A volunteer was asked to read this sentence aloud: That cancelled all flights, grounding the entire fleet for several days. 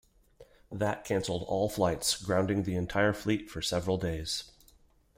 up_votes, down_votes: 2, 0